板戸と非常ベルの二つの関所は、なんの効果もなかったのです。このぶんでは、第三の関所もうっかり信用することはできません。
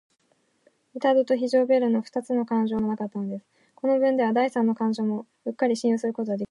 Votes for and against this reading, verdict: 1, 3, rejected